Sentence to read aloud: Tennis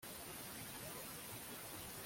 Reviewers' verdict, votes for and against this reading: rejected, 0, 2